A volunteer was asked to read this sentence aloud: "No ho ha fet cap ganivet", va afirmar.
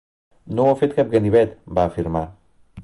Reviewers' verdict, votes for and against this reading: accepted, 2, 0